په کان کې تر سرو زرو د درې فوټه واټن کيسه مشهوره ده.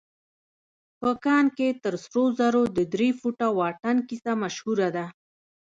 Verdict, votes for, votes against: accepted, 2, 0